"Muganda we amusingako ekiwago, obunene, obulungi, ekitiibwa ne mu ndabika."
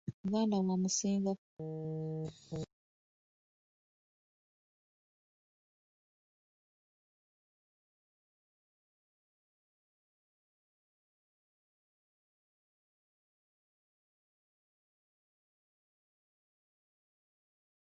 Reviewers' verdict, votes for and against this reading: rejected, 0, 2